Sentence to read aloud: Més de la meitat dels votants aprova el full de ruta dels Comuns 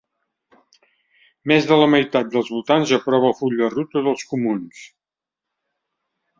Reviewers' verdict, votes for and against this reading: accepted, 3, 0